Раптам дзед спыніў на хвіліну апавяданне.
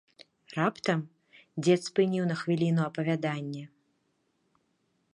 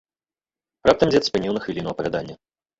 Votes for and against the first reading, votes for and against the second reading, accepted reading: 2, 0, 0, 2, first